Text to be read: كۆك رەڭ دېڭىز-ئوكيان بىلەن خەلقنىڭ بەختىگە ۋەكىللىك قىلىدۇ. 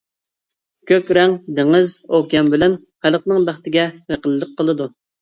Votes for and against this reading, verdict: 0, 2, rejected